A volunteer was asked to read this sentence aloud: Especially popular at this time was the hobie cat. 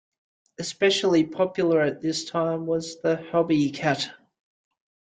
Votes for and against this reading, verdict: 0, 2, rejected